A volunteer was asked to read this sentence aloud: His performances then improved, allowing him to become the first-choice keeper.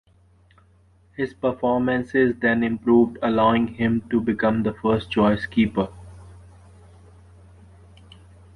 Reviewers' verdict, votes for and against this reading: accepted, 2, 1